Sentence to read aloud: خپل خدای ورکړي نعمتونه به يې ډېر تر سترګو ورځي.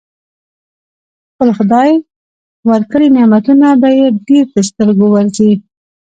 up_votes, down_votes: 2, 1